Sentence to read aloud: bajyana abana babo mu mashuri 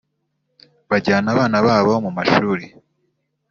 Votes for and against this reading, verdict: 2, 0, accepted